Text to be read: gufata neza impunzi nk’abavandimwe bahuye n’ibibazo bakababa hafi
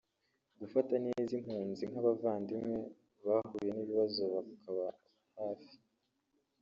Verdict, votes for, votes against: rejected, 1, 2